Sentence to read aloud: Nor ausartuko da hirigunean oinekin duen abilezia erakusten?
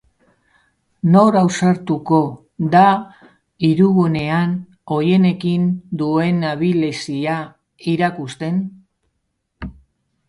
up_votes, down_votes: 1, 3